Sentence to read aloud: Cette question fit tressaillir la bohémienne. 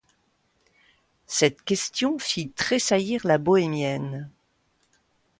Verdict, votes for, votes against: accepted, 2, 0